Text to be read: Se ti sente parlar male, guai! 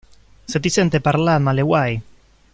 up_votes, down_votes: 1, 2